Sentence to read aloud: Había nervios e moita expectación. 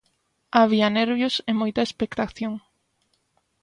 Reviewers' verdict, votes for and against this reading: accepted, 2, 0